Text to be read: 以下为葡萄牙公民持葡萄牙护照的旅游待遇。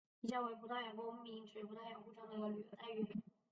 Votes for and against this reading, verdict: 0, 4, rejected